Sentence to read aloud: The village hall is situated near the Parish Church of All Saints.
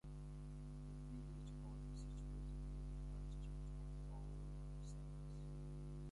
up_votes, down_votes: 0, 2